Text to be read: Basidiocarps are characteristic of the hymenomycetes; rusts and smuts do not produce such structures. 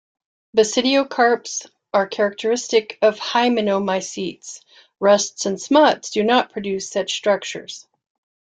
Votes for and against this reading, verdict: 1, 2, rejected